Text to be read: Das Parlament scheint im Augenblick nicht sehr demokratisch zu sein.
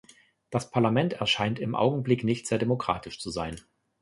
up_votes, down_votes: 0, 2